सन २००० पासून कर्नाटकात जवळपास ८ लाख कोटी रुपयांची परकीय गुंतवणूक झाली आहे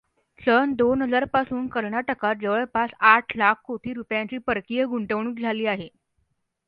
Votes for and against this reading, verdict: 0, 2, rejected